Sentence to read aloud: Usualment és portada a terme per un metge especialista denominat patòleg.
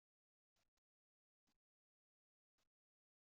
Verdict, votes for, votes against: rejected, 0, 2